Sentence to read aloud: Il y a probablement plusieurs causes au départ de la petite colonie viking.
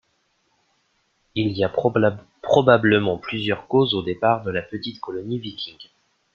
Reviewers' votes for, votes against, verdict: 1, 2, rejected